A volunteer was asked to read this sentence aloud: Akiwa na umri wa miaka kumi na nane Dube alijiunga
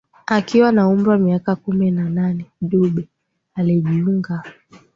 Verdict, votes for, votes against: accepted, 2, 0